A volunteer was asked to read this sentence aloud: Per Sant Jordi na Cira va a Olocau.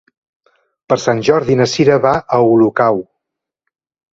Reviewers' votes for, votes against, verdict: 2, 0, accepted